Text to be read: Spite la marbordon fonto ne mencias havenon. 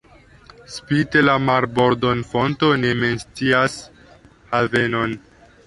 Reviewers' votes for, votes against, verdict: 0, 2, rejected